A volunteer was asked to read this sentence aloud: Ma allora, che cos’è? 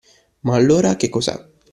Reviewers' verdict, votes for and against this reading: accepted, 2, 0